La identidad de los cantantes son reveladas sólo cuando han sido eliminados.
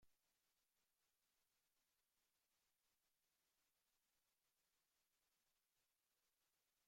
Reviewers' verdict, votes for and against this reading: rejected, 0, 2